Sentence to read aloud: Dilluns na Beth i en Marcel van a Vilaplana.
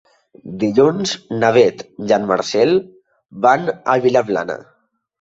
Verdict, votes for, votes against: accepted, 2, 0